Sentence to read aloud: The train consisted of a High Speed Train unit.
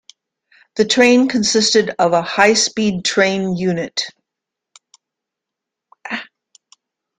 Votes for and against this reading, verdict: 2, 0, accepted